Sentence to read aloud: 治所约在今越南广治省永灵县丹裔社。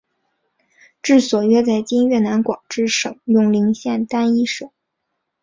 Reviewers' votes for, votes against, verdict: 2, 0, accepted